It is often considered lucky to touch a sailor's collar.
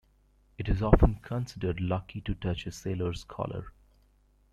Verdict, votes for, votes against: accepted, 2, 1